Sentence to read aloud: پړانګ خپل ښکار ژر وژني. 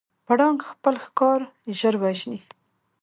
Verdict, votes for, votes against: accepted, 3, 0